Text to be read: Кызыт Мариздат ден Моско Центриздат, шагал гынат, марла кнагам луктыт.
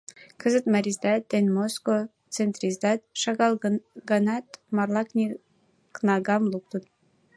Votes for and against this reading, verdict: 0, 2, rejected